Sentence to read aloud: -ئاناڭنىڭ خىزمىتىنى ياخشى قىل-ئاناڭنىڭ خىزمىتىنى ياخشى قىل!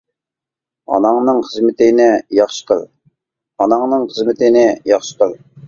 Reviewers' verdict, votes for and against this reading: rejected, 1, 2